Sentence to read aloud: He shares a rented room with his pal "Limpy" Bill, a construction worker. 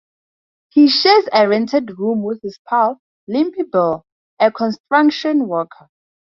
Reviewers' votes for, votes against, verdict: 0, 2, rejected